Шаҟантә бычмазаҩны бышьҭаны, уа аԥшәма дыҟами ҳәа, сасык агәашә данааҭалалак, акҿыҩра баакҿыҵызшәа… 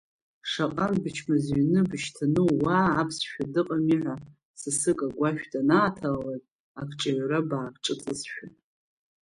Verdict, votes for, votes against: rejected, 0, 2